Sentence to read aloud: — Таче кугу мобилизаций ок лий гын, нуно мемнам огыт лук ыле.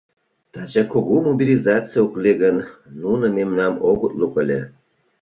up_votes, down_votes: 2, 0